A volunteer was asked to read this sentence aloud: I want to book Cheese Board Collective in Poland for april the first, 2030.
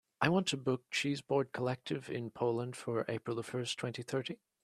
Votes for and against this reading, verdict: 0, 2, rejected